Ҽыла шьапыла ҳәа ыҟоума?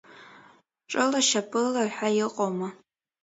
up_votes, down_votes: 0, 2